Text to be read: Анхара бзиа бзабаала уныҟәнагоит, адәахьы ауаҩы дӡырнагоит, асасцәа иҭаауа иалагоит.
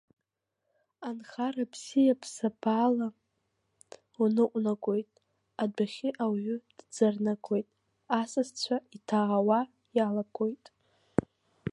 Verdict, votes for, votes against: accepted, 5, 2